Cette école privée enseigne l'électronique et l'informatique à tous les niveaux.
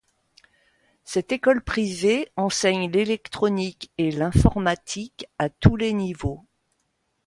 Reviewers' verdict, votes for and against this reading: accepted, 2, 0